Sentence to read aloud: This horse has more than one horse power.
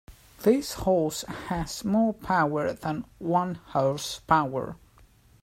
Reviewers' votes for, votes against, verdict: 0, 2, rejected